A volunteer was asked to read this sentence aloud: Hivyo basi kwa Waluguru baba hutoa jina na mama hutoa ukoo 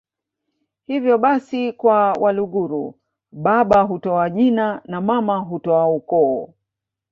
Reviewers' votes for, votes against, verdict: 1, 2, rejected